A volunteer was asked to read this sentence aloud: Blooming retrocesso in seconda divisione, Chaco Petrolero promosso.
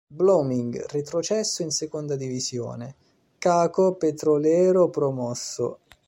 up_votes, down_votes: 2, 0